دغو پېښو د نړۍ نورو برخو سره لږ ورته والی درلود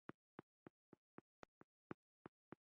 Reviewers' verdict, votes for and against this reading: rejected, 1, 2